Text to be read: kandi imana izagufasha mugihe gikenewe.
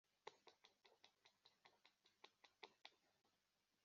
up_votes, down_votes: 0, 3